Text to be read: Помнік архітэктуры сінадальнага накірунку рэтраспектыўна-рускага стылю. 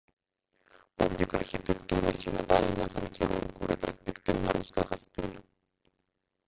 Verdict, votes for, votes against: rejected, 0, 2